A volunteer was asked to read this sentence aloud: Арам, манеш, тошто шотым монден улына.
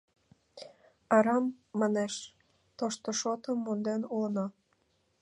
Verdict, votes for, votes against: accepted, 2, 0